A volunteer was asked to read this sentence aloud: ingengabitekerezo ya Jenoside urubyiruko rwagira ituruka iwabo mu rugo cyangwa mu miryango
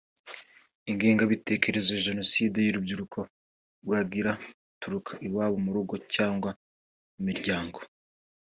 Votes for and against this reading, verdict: 2, 0, accepted